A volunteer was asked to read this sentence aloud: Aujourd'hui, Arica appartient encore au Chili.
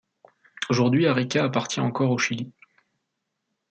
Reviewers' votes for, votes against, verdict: 2, 0, accepted